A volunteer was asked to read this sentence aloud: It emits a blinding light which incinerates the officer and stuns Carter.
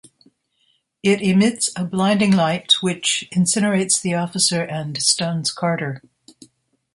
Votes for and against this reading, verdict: 2, 0, accepted